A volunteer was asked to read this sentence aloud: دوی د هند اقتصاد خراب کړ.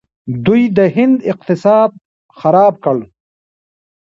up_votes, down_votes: 0, 2